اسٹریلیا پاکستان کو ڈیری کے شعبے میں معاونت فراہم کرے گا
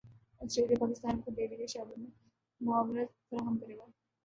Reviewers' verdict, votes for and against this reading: rejected, 0, 2